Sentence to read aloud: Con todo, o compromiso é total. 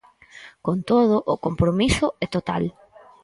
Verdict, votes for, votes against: accepted, 4, 0